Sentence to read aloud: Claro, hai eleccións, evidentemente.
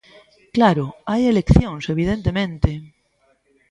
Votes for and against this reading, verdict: 2, 0, accepted